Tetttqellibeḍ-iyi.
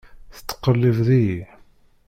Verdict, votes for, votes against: rejected, 1, 2